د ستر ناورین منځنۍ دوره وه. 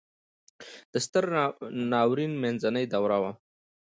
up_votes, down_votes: 2, 0